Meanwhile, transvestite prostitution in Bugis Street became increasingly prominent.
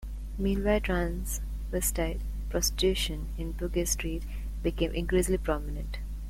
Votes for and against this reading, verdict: 1, 2, rejected